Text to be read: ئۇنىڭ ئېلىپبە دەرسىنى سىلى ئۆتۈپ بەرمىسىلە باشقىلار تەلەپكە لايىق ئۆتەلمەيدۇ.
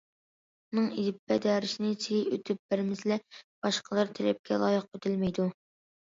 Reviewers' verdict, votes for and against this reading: accepted, 2, 1